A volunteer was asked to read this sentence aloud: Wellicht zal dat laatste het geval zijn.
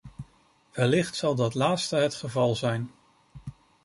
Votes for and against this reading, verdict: 2, 0, accepted